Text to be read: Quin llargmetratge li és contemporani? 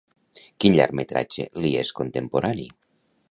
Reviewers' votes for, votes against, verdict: 2, 0, accepted